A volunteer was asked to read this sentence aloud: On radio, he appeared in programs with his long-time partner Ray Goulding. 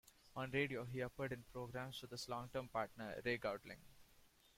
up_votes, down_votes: 1, 2